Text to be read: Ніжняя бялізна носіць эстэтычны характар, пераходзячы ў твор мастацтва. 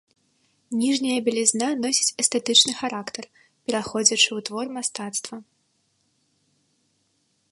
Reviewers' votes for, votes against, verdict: 1, 2, rejected